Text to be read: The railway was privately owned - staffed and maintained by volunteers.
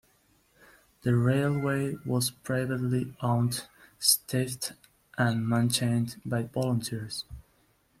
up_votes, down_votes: 1, 2